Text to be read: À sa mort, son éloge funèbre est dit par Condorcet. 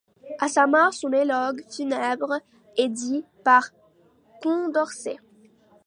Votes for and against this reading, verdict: 0, 2, rejected